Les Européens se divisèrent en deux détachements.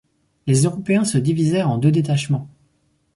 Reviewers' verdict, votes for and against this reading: accepted, 4, 0